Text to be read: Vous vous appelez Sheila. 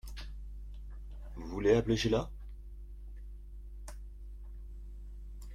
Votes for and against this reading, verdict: 0, 2, rejected